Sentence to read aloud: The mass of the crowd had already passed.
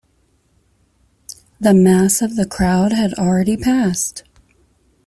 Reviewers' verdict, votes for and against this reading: accepted, 2, 0